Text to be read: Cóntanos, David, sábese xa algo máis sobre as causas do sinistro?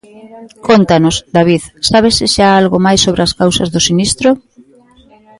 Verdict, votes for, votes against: rejected, 0, 3